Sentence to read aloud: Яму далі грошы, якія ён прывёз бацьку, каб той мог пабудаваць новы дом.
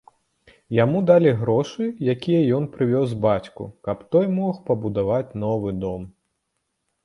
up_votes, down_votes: 2, 0